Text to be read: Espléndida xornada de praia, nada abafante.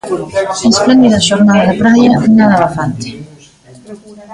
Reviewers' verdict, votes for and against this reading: rejected, 0, 2